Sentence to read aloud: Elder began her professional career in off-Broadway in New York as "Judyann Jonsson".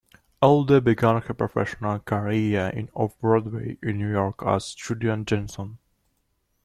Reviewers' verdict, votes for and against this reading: accepted, 2, 0